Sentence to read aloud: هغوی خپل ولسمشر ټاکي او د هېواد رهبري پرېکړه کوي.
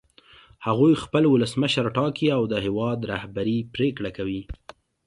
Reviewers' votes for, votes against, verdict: 2, 0, accepted